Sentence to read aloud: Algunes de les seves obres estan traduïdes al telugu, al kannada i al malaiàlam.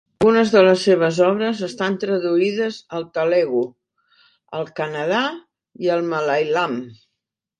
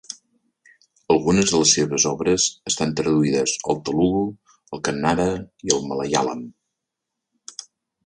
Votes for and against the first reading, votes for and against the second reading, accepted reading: 0, 2, 2, 0, second